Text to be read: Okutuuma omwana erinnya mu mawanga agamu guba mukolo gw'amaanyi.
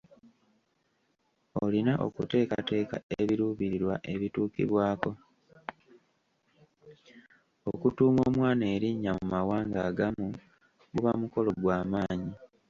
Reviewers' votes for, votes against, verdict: 0, 2, rejected